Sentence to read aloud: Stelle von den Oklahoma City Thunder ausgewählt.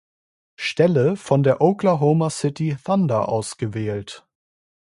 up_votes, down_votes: 0, 2